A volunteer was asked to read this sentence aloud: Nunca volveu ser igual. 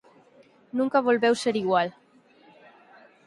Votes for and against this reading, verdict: 4, 0, accepted